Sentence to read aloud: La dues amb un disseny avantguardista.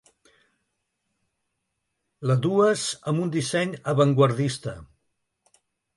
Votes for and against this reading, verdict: 3, 0, accepted